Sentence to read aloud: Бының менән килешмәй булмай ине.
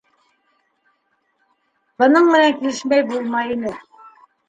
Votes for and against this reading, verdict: 1, 2, rejected